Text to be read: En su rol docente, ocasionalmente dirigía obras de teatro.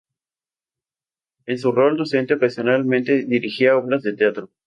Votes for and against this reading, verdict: 2, 2, rejected